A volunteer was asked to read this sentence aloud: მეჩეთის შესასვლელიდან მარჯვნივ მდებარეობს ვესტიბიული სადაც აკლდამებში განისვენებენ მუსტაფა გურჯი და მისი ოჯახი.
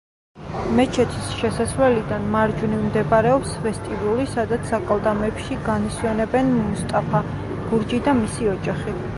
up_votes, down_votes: 1, 2